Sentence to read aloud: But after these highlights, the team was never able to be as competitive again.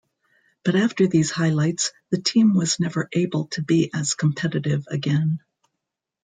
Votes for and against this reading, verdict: 1, 2, rejected